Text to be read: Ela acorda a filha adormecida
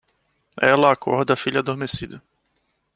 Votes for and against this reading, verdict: 2, 0, accepted